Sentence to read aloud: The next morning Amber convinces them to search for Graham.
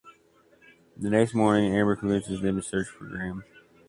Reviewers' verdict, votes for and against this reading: accepted, 2, 1